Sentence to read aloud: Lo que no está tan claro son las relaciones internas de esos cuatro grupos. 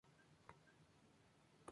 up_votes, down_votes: 0, 2